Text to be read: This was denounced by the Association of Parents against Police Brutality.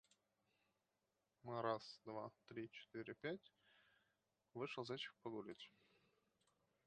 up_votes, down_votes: 1, 4